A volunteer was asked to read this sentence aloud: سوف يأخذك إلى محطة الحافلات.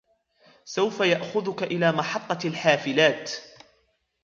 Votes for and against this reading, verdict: 2, 0, accepted